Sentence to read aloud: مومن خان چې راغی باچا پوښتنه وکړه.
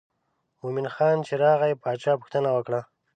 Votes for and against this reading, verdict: 2, 0, accepted